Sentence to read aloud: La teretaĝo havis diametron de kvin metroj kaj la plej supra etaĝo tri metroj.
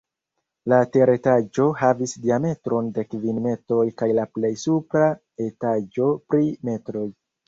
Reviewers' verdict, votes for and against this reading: rejected, 1, 3